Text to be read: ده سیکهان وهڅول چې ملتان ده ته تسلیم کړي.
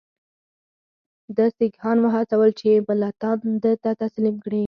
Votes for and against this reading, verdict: 4, 0, accepted